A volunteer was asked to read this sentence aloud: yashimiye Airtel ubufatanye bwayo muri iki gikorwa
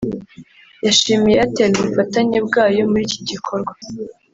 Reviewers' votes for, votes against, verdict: 0, 2, rejected